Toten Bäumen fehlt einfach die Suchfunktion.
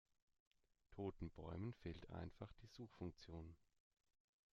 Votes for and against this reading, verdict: 2, 0, accepted